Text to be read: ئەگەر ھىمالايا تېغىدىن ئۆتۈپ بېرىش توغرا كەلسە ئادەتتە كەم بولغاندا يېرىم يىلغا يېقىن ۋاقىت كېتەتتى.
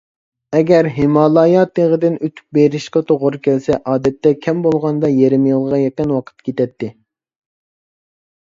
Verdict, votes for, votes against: rejected, 0, 2